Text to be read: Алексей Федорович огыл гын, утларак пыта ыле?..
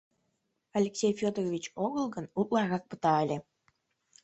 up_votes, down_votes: 2, 1